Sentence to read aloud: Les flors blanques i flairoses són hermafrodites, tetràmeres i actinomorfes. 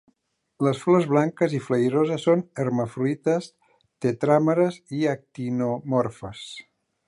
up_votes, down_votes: 1, 2